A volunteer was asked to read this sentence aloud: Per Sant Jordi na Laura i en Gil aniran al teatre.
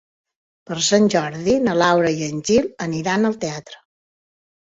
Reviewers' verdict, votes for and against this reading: accepted, 2, 0